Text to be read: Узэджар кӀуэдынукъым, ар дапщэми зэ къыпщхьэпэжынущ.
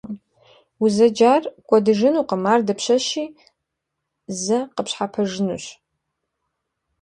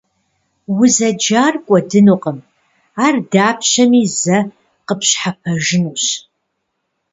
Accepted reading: second